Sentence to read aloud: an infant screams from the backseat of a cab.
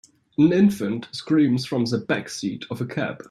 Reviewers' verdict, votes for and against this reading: accepted, 2, 0